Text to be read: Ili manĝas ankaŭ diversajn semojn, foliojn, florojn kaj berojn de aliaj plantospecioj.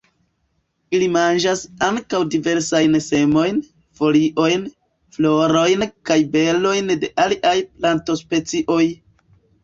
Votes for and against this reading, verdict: 0, 2, rejected